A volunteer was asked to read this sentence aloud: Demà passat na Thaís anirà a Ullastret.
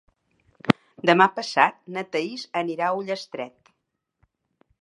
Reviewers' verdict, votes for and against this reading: accepted, 3, 0